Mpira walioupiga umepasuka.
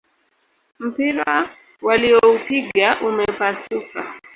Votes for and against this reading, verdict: 0, 2, rejected